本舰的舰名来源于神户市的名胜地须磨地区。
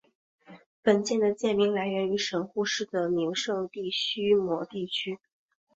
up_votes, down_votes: 2, 0